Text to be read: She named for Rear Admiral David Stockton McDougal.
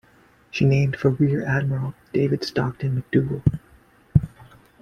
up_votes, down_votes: 2, 1